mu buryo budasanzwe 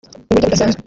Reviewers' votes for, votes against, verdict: 1, 2, rejected